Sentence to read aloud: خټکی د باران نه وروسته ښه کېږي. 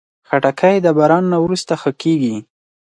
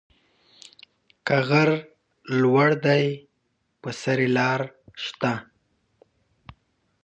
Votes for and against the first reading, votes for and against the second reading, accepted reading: 4, 0, 1, 2, first